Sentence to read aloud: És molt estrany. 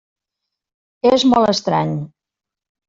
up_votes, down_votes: 2, 0